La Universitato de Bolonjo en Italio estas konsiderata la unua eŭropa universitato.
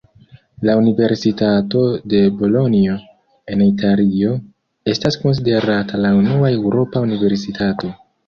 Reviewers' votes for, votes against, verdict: 0, 2, rejected